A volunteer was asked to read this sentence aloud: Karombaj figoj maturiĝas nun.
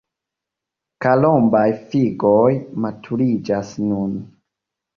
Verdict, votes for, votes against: accepted, 2, 0